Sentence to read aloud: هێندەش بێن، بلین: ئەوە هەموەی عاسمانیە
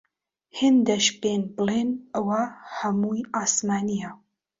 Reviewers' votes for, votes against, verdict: 2, 0, accepted